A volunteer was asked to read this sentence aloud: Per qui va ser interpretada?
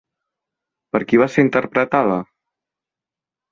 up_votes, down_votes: 2, 0